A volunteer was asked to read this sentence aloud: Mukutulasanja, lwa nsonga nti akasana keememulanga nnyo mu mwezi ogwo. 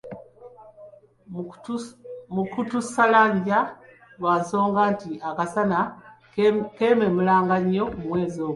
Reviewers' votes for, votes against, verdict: 1, 2, rejected